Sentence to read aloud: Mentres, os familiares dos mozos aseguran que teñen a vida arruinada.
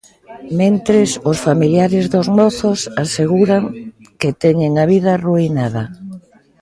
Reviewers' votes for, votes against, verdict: 2, 0, accepted